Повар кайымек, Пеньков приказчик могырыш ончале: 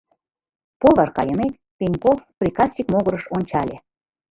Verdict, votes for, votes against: rejected, 1, 2